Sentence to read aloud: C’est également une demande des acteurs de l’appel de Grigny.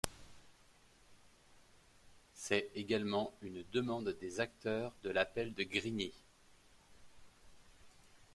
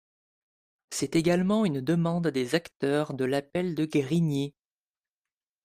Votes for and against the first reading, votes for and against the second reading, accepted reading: 2, 0, 0, 2, first